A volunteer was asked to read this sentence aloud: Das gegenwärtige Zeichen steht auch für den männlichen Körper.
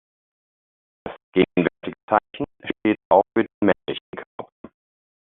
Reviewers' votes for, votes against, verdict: 0, 2, rejected